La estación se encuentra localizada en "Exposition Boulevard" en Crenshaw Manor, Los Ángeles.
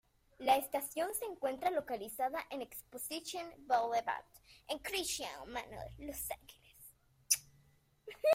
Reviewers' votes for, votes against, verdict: 2, 1, accepted